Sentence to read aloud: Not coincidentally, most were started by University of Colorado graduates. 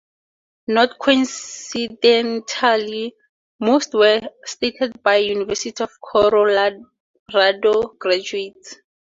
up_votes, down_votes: 0, 4